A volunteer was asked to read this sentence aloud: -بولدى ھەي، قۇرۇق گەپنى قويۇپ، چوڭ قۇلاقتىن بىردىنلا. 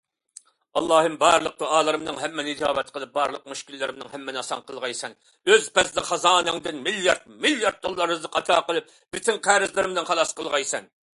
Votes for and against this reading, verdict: 0, 2, rejected